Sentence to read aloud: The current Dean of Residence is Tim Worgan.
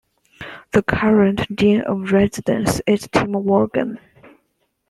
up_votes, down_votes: 2, 0